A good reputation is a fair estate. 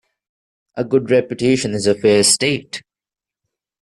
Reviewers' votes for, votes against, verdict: 2, 0, accepted